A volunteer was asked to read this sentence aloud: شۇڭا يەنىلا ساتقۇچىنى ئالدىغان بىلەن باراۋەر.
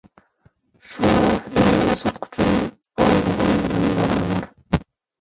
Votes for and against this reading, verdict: 0, 2, rejected